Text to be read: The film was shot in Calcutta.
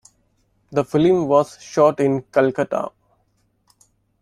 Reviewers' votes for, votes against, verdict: 2, 1, accepted